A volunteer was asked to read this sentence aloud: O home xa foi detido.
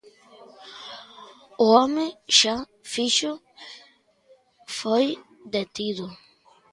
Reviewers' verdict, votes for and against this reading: rejected, 0, 2